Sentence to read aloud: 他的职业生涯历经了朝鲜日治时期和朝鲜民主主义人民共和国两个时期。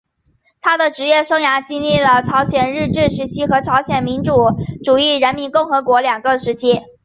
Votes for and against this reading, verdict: 3, 0, accepted